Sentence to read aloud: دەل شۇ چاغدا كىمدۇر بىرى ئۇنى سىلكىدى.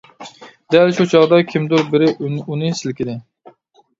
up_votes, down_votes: 1, 2